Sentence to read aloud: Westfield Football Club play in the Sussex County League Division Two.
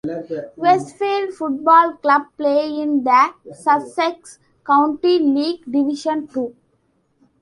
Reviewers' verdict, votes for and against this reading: accepted, 2, 0